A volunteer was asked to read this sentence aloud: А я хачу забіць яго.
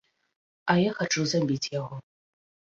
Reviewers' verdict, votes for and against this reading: accepted, 2, 0